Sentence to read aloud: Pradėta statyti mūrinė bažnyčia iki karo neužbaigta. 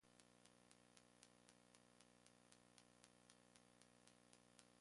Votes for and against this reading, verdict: 0, 2, rejected